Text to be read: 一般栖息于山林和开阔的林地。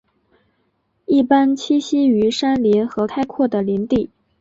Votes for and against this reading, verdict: 4, 1, accepted